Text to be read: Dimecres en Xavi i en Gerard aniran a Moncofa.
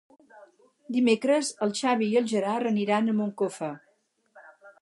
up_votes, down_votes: 2, 4